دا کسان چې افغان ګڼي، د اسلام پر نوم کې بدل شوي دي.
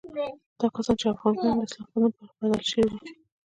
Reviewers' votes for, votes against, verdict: 1, 2, rejected